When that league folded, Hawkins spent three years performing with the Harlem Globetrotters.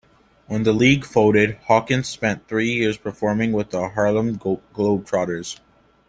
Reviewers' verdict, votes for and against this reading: accepted, 2, 0